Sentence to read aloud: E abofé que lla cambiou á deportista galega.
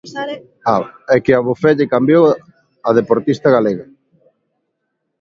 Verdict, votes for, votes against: rejected, 0, 2